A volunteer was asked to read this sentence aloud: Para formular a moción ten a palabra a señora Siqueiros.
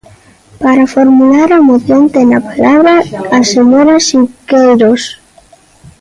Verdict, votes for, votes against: rejected, 1, 2